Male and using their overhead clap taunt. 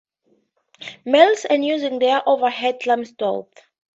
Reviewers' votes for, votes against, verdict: 0, 4, rejected